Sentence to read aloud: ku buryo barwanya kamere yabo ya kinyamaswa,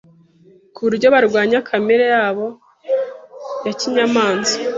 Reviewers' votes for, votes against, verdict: 2, 0, accepted